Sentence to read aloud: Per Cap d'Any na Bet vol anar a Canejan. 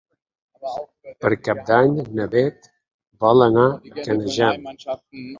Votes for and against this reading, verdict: 0, 4, rejected